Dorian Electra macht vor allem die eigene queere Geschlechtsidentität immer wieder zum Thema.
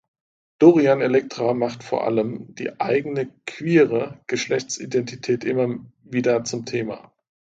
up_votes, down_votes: 2, 0